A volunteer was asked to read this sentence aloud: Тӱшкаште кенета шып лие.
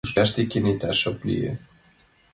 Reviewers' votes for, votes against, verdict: 3, 1, accepted